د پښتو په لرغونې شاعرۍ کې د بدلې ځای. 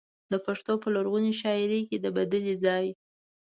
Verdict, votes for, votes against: accepted, 2, 0